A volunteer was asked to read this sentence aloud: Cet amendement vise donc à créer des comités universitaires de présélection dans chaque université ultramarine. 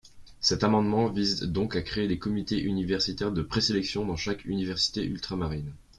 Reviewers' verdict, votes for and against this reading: accepted, 2, 0